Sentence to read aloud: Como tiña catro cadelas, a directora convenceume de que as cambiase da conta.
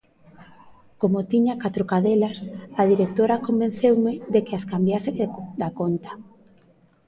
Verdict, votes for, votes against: rejected, 0, 2